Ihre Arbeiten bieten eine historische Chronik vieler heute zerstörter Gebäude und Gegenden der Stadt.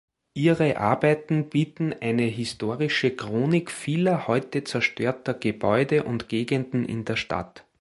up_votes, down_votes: 1, 2